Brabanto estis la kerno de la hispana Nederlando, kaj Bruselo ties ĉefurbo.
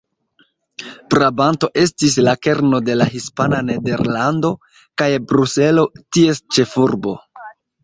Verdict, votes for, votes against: rejected, 1, 2